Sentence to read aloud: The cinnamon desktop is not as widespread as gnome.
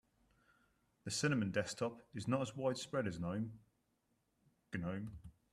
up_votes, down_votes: 0, 2